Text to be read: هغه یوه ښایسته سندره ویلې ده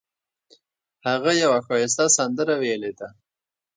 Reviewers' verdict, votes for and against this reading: rejected, 1, 2